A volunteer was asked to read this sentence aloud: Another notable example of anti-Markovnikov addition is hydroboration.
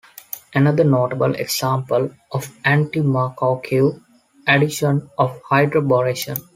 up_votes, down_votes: 0, 2